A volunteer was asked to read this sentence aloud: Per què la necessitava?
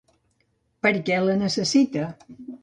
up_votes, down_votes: 0, 2